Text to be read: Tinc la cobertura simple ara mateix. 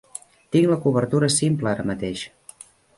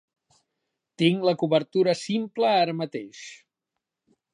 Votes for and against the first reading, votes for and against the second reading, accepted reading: 1, 2, 3, 0, second